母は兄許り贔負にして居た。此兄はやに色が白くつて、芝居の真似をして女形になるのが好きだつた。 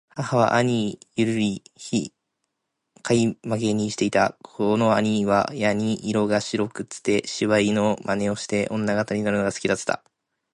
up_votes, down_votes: 2, 0